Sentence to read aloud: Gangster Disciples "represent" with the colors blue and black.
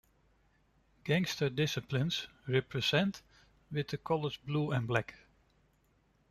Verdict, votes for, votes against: rejected, 0, 2